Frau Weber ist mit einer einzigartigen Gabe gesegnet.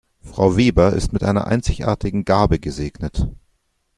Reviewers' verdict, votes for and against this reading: accepted, 2, 0